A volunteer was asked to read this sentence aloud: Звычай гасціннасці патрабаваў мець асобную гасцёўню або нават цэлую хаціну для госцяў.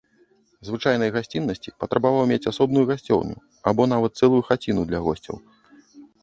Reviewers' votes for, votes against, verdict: 0, 2, rejected